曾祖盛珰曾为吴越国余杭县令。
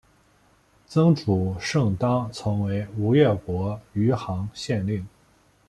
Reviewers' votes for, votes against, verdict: 2, 1, accepted